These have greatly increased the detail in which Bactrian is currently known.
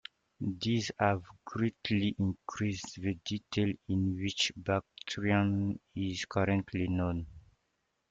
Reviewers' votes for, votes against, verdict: 2, 0, accepted